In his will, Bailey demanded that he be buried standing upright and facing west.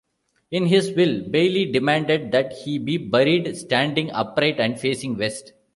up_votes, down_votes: 2, 0